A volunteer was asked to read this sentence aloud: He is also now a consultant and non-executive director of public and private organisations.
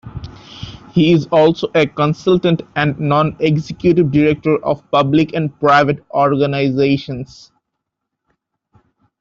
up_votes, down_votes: 0, 2